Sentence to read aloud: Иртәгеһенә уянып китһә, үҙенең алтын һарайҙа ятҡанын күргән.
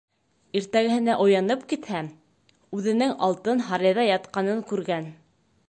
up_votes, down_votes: 2, 1